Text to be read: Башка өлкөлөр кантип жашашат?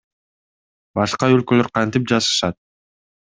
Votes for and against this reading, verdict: 2, 0, accepted